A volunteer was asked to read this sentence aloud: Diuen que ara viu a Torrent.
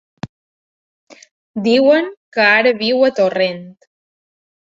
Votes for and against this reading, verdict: 3, 0, accepted